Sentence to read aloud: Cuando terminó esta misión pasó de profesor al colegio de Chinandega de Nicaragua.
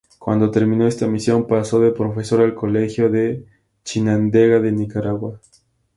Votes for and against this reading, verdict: 2, 2, rejected